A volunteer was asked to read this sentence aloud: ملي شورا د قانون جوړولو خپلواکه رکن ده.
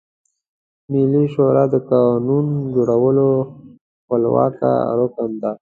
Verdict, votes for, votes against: accepted, 2, 0